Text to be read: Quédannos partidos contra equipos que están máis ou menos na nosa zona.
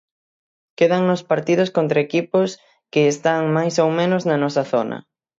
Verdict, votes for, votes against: accepted, 6, 0